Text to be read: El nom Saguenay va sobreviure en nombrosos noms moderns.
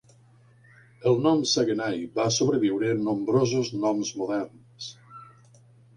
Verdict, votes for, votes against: accepted, 2, 0